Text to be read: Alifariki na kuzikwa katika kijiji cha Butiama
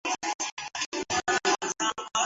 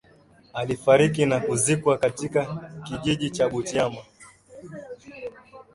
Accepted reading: second